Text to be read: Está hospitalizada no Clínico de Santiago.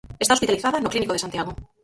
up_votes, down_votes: 0, 4